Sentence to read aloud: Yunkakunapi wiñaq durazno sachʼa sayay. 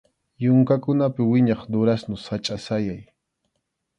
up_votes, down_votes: 2, 0